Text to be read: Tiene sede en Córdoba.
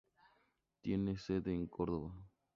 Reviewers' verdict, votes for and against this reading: accepted, 2, 0